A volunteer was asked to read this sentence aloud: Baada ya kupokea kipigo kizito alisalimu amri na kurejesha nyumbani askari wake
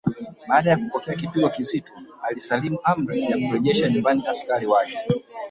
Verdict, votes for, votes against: rejected, 1, 2